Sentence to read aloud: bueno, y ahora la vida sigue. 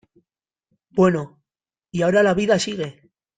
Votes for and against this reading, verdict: 2, 0, accepted